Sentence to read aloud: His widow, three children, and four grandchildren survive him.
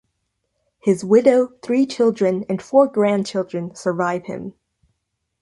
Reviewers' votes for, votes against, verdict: 2, 0, accepted